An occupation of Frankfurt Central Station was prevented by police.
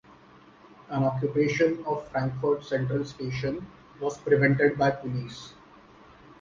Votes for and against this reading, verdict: 2, 0, accepted